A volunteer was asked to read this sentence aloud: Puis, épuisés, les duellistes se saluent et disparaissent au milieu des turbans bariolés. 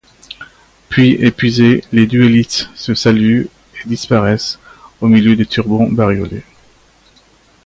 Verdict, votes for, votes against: rejected, 0, 2